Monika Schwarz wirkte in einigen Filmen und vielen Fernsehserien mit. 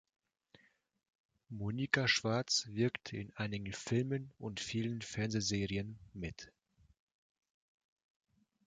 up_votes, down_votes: 1, 2